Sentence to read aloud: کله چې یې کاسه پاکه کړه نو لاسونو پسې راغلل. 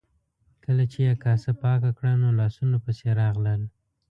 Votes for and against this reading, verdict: 2, 0, accepted